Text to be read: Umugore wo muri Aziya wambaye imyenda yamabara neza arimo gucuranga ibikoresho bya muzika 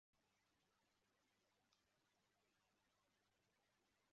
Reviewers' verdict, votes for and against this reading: rejected, 0, 2